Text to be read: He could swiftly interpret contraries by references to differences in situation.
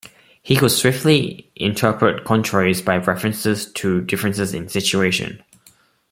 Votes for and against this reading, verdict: 2, 0, accepted